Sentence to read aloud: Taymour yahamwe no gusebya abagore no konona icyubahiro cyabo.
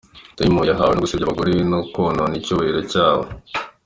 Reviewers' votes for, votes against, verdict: 3, 0, accepted